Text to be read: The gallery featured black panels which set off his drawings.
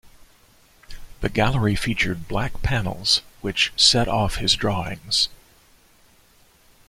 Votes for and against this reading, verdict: 2, 0, accepted